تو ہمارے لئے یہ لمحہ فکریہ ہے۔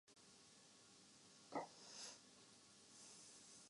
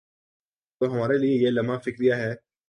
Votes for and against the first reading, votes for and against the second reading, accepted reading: 1, 5, 3, 0, second